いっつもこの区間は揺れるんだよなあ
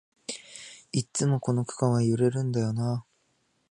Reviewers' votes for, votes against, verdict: 2, 0, accepted